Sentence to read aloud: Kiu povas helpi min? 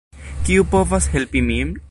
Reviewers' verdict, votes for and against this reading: accepted, 2, 0